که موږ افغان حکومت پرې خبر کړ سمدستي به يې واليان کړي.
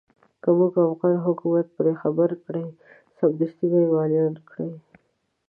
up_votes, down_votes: 0, 2